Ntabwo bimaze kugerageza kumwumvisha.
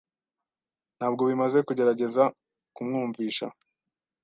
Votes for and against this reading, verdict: 2, 0, accepted